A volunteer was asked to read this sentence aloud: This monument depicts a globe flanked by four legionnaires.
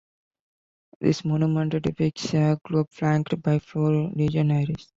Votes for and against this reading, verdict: 0, 2, rejected